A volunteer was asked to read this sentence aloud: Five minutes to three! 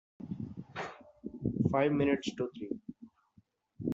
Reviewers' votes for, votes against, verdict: 2, 0, accepted